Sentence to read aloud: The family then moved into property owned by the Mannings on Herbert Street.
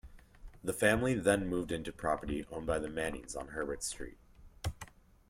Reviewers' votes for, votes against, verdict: 1, 2, rejected